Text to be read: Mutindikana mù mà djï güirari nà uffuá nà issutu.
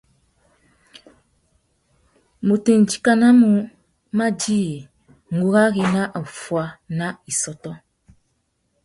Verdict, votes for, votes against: rejected, 1, 2